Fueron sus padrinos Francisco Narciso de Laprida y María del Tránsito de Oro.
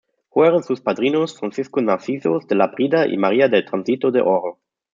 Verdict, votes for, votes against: rejected, 1, 2